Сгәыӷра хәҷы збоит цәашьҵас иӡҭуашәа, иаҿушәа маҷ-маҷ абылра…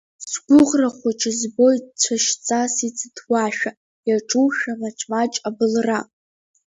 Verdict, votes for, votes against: accepted, 2, 1